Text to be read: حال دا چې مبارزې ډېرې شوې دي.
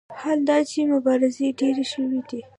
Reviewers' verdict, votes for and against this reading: rejected, 1, 2